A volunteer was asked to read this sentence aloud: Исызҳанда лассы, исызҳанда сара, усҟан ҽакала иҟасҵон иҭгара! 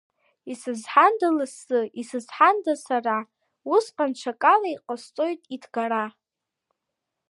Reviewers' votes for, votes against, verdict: 2, 0, accepted